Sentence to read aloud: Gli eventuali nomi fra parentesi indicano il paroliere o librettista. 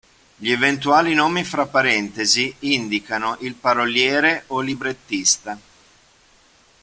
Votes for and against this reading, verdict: 2, 0, accepted